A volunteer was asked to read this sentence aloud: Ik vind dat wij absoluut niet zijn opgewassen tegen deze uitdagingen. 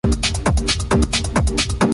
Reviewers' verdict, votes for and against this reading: rejected, 0, 2